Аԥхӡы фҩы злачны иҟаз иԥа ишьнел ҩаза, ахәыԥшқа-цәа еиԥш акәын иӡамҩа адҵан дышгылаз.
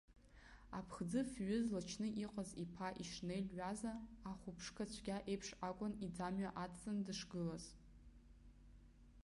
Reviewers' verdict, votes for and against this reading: accepted, 2, 0